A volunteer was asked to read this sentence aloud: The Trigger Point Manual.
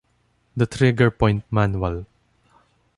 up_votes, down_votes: 2, 0